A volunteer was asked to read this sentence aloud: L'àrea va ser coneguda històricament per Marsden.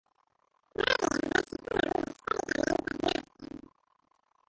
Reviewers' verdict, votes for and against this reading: rejected, 0, 2